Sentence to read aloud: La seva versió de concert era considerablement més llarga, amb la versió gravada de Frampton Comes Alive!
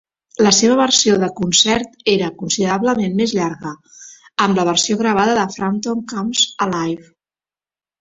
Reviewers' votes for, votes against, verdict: 2, 0, accepted